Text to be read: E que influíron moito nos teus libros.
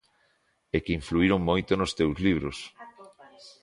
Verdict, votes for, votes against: accepted, 2, 0